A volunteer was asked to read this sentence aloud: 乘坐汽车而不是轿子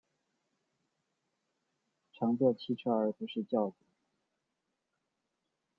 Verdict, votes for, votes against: accepted, 2, 1